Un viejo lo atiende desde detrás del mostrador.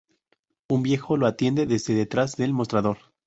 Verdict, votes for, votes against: rejected, 0, 2